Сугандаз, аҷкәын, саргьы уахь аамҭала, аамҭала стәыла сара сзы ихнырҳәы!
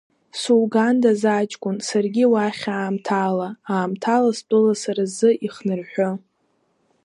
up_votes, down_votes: 3, 1